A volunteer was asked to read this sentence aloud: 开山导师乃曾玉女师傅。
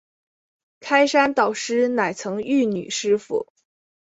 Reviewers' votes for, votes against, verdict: 5, 0, accepted